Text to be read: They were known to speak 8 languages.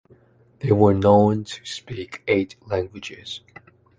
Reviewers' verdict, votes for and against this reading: rejected, 0, 2